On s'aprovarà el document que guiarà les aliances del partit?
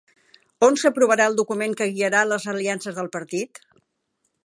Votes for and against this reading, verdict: 3, 0, accepted